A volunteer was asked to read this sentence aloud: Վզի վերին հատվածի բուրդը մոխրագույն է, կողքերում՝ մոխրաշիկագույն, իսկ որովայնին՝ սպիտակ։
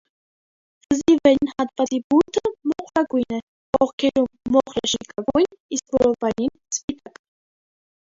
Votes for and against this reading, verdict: 0, 2, rejected